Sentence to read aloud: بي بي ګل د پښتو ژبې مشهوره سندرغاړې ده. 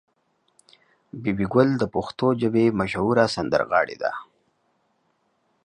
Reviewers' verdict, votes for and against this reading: accepted, 2, 0